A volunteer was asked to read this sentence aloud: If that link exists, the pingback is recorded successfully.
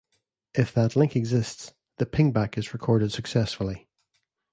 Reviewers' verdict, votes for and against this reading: accepted, 2, 0